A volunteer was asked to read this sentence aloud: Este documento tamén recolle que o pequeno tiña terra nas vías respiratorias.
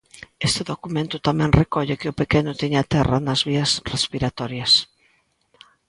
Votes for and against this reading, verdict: 2, 0, accepted